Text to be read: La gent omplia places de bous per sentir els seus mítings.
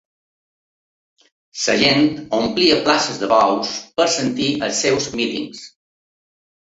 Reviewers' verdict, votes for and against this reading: rejected, 1, 2